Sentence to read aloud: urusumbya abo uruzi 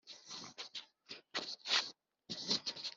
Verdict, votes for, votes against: rejected, 1, 3